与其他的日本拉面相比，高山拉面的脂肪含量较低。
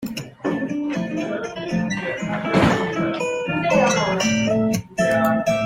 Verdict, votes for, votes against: rejected, 0, 2